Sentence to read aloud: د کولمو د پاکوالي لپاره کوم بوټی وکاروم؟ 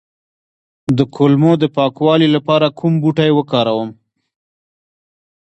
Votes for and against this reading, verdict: 2, 1, accepted